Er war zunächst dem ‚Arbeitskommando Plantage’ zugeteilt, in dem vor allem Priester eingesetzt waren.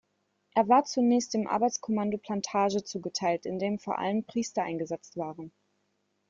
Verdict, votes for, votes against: accepted, 2, 0